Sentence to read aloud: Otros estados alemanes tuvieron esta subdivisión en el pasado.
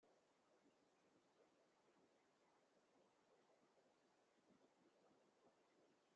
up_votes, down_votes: 0, 2